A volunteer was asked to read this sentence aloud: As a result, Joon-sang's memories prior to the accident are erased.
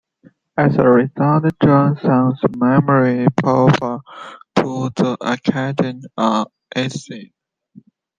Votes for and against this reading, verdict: 0, 2, rejected